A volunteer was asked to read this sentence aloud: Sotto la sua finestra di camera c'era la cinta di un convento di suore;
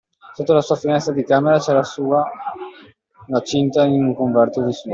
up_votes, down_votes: 0, 2